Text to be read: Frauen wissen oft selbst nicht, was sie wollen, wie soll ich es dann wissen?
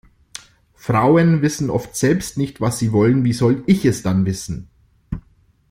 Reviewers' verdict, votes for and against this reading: accepted, 2, 0